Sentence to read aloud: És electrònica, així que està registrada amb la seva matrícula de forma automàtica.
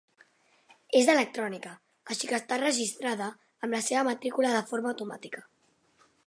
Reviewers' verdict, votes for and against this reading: accepted, 4, 0